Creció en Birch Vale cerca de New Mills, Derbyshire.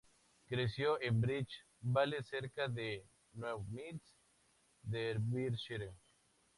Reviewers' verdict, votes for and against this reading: rejected, 0, 4